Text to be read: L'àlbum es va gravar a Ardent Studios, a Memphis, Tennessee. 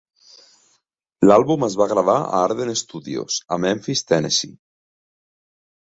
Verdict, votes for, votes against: accepted, 2, 0